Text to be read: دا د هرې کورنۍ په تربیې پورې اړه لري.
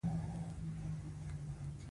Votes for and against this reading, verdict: 1, 2, rejected